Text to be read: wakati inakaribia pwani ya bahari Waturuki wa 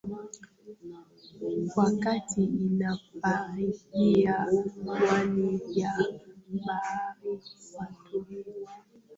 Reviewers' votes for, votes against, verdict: 0, 2, rejected